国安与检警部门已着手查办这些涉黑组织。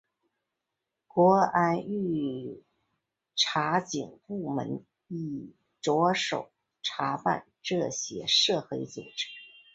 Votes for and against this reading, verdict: 0, 2, rejected